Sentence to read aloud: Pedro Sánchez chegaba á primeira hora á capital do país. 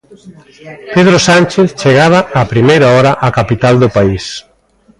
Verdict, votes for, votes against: rejected, 1, 2